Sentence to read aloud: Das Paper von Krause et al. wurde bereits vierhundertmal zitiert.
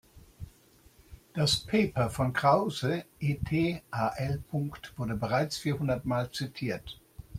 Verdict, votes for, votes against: rejected, 0, 2